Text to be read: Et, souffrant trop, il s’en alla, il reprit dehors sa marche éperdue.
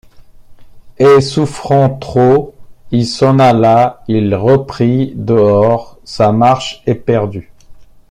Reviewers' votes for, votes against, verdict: 2, 0, accepted